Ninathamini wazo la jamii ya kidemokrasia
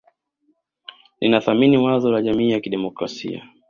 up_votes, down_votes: 2, 1